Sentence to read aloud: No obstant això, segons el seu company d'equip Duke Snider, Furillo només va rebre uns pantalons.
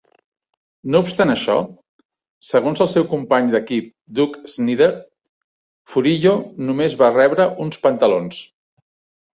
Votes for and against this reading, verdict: 0, 2, rejected